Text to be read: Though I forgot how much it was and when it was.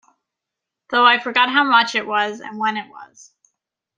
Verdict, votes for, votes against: accepted, 2, 0